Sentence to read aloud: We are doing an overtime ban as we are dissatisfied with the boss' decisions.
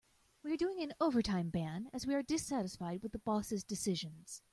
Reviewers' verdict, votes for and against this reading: accepted, 2, 1